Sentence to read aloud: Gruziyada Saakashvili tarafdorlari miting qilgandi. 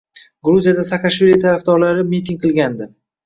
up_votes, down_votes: 2, 0